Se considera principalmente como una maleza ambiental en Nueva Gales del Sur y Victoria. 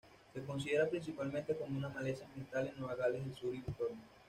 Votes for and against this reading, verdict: 1, 2, rejected